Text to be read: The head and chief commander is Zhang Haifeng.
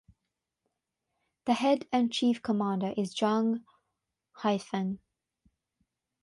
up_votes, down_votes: 3, 3